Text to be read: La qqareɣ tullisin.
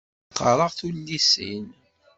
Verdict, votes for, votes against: accepted, 2, 1